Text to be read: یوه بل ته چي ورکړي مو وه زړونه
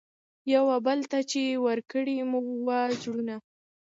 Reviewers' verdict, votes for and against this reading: accepted, 2, 0